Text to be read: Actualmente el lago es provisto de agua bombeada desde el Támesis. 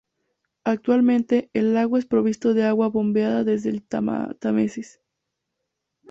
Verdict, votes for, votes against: rejected, 0, 2